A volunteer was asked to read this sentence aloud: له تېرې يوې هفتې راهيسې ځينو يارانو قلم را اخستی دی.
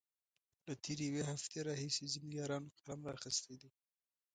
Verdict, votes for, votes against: rejected, 0, 2